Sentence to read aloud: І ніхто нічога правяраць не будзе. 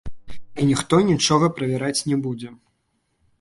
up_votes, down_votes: 1, 2